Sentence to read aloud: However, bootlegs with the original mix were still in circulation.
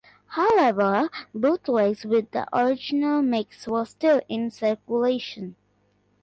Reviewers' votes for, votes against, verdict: 2, 0, accepted